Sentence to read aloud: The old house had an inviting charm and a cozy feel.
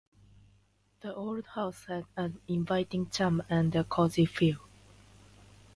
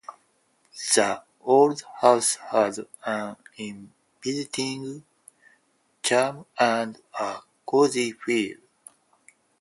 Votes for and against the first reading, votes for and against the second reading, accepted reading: 2, 0, 2, 4, first